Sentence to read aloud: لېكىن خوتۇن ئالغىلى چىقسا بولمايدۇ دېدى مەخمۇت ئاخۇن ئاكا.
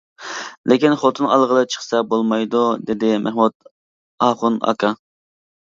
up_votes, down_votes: 2, 0